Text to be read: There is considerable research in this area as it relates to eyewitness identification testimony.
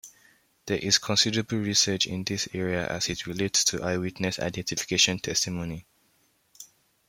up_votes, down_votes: 2, 0